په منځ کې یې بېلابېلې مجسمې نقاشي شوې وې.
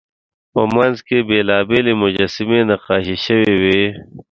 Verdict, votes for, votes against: accepted, 2, 0